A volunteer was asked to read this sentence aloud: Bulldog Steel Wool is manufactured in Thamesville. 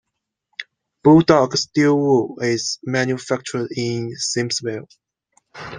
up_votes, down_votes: 1, 2